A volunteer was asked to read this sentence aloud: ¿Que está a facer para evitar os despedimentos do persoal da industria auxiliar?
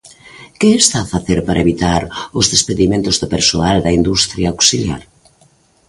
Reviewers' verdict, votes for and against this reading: accepted, 2, 0